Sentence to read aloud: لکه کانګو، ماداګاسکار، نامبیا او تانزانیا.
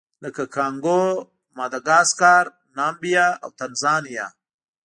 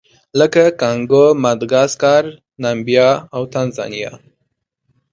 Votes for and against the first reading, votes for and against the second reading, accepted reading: 1, 2, 2, 1, second